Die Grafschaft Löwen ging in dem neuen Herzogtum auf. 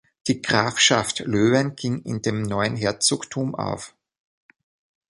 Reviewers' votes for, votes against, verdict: 2, 0, accepted